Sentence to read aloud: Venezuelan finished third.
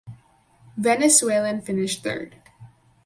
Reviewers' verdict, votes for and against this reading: accepted, 4, 0